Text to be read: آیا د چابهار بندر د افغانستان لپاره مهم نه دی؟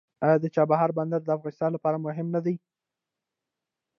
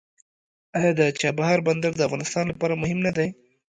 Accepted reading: second